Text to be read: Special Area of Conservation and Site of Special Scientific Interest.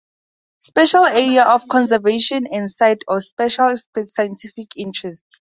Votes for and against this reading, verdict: 0, 4, rejected